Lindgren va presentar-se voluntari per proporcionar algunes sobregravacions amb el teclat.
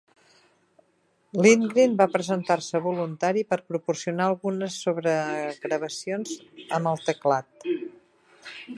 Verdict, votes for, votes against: rejected, 0, 3